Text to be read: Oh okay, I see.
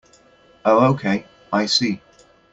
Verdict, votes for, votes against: accepted, 2, 0